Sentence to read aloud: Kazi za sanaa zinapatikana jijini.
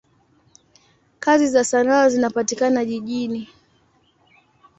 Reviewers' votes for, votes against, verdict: 2, 0, accepted